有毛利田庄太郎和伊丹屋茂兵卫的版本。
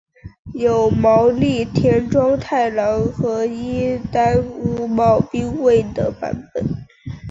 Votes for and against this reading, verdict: 2, 0, accepted